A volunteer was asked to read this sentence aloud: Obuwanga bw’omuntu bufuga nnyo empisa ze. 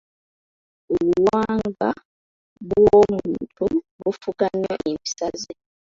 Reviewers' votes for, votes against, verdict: 1, 2, rejected